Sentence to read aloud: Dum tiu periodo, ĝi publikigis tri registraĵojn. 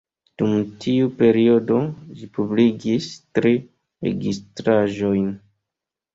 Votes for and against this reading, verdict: 1, 2, rejected